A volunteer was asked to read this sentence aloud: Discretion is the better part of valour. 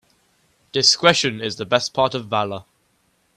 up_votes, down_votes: 2, 0